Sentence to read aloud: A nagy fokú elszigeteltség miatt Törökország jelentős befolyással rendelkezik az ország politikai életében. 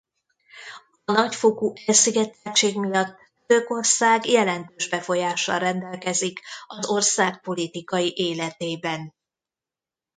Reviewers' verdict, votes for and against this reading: rejected, 0, 2